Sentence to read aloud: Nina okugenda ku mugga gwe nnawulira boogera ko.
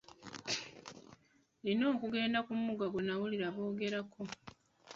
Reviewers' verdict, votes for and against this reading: rejected, 0, 2